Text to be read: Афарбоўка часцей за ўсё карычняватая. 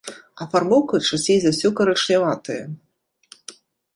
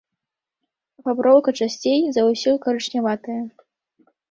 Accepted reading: first